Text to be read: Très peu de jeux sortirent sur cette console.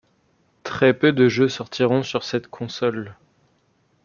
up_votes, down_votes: 0, 2